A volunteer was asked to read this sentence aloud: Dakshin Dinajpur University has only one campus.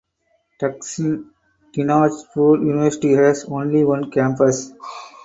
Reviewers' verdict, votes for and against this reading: accepted, 4, 2